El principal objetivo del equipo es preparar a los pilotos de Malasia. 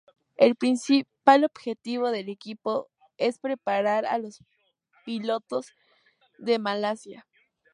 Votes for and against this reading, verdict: 2, 0, accepted